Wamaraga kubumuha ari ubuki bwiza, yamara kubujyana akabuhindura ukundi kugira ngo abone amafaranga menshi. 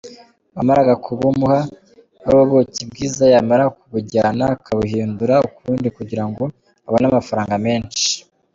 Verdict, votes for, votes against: accepted, 3, 2